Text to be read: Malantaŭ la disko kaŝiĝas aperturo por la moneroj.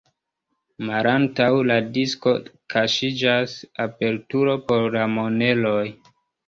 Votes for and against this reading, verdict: 0, 2, rejected